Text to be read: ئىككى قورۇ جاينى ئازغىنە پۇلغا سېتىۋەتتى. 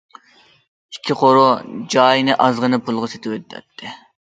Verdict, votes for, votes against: rejected, 0, 2